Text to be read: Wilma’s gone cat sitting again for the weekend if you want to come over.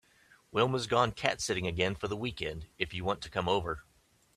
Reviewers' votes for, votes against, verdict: 3, 0, accepted